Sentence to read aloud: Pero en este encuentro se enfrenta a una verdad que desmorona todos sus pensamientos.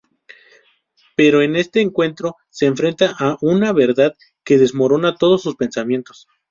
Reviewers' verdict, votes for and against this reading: accepted, 4, 0